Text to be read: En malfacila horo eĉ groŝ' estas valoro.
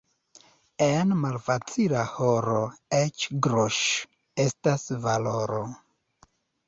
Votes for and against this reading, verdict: 2, 0, accepted